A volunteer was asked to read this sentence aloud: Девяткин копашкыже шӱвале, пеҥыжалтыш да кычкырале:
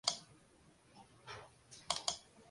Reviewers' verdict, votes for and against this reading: rejected, 0, 2